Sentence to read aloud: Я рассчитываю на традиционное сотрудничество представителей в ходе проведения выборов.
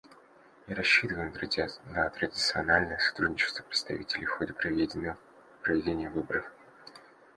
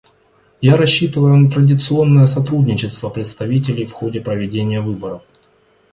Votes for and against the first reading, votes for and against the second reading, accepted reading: 0, 2, 2, 0, second